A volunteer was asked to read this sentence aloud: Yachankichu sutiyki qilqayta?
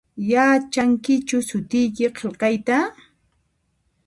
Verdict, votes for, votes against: accepted, 2, 0